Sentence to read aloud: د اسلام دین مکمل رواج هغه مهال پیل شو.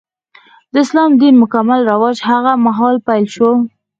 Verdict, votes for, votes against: rejected, 2, 4